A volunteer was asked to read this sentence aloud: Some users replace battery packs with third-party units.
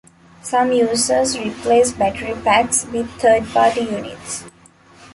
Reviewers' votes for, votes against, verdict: 2, 0, accepted